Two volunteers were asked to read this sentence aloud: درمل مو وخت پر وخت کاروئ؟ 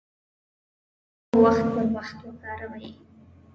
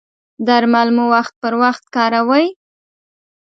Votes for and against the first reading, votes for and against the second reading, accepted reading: 0, 2, 2, 0, second